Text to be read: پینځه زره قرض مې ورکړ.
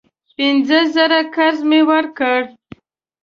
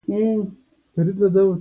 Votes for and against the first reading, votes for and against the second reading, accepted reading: 3, 0, 0, 2, first